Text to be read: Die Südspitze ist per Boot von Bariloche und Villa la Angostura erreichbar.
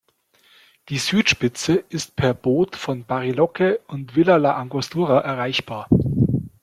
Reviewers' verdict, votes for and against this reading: accepted, 2, 0